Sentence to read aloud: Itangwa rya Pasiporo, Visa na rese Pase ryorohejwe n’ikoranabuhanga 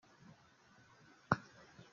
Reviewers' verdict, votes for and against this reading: rejected, 0, 2